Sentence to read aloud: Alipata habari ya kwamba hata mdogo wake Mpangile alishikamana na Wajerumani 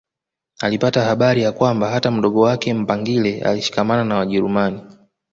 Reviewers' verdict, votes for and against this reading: accepted, 2, 0